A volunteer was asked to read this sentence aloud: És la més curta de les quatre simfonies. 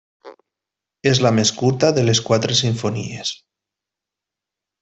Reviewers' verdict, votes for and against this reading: accepted, 3, 0